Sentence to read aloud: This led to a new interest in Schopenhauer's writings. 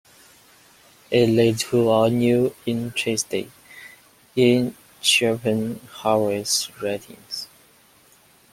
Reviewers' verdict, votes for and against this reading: rejected, 1, 2